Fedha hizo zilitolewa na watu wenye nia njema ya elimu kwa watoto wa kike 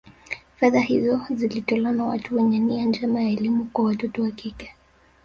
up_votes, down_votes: 3, 0